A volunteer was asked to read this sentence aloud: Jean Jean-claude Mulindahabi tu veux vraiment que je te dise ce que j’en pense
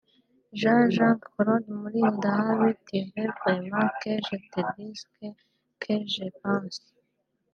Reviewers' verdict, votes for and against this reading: rejected, 0, 2